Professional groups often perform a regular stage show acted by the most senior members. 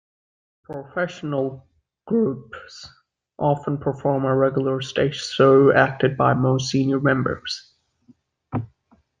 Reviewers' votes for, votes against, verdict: 0, 2, rejected